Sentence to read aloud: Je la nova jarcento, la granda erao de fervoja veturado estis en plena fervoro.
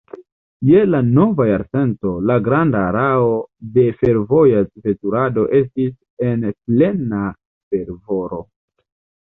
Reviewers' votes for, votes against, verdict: 1, 2, rejected